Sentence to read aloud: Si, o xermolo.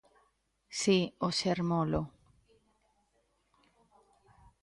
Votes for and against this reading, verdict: 2, 0, accepted